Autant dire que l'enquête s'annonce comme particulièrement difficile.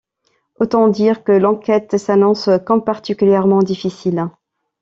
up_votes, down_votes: 0, 2